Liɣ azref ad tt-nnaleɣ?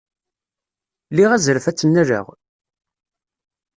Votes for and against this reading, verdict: 2, 0, accepted